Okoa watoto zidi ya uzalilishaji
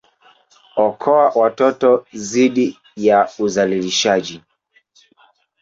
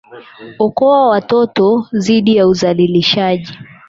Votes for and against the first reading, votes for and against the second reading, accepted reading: 1, 2, 12, 0, second